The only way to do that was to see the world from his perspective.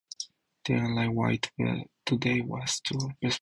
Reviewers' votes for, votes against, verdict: 0, 4, rejected